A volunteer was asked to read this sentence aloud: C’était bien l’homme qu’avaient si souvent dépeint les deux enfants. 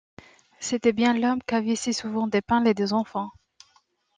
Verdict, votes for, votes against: accepted, 2, 0